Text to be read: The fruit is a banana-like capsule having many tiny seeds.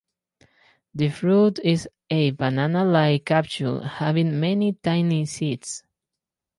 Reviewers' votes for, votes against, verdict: 4, 0, accepted